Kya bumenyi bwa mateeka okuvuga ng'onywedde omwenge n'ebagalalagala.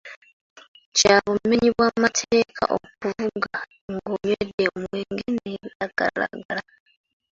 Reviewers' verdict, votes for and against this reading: accepted, 2, 1